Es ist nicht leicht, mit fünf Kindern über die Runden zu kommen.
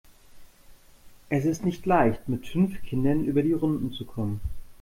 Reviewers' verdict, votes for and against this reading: accepted, 2, 0